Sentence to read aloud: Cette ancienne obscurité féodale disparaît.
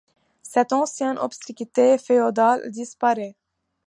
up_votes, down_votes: 0, 2